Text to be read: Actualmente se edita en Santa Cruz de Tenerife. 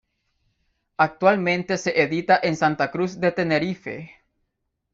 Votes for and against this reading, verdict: 2, 0, accepted